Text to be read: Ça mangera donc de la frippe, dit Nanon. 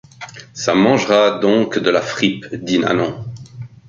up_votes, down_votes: 0, 2